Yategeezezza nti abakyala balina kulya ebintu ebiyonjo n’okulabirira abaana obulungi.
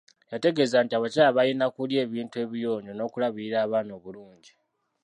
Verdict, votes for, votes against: rejected, 0, 2